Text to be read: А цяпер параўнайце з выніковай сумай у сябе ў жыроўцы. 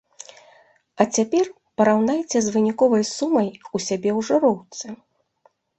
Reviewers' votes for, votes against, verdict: 2, 0, accepted